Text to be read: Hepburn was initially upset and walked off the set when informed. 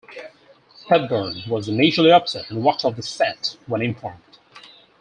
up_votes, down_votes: 4, 0